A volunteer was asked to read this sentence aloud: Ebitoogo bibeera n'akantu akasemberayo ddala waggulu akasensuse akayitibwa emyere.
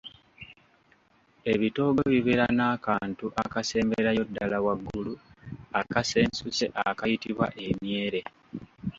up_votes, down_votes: 2, 1